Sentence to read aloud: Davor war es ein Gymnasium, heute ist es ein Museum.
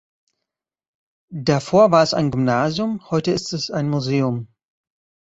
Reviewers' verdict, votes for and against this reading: accepted, 2, 0